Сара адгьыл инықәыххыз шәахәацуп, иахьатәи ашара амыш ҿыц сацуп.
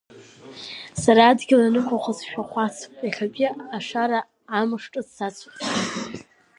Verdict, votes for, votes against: rejected, 1, 2